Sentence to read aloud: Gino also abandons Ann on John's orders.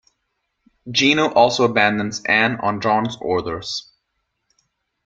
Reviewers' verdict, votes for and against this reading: accepted, 2, 1